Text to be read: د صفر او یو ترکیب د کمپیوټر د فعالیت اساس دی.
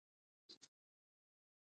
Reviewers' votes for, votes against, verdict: 1, 2, rejected